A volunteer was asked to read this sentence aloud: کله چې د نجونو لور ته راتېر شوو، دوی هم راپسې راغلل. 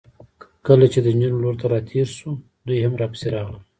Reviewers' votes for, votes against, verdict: 2, 1, accepted